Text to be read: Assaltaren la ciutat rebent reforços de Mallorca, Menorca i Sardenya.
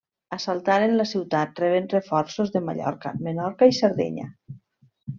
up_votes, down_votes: 2, 0